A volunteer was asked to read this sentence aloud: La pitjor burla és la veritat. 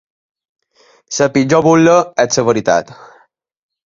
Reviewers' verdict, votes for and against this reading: accepted, 2, 0